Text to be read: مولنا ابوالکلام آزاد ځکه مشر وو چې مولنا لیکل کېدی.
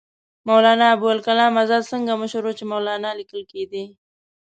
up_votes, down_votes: 1, 2